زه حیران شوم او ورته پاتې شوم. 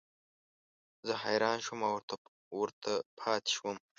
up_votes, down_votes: 1, 2